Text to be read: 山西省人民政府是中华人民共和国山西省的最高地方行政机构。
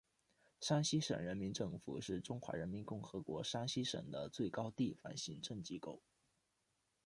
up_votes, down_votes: 2, 1